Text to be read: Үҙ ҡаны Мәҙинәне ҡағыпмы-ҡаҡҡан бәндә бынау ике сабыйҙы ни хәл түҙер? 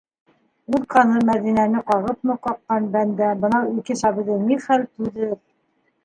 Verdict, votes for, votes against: rejected, 0, 2